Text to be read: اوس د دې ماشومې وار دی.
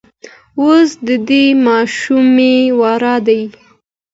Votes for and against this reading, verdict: 2, 0, accepted